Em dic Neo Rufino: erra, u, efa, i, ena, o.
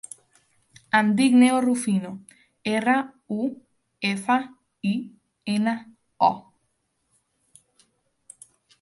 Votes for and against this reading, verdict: 2, 0, accepted